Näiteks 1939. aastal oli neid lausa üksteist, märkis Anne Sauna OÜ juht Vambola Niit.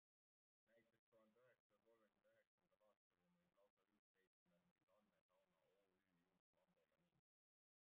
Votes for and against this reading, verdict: 0, 2, rejected